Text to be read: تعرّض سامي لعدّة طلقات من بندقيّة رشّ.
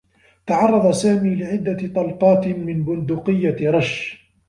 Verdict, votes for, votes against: rejected, 1, 2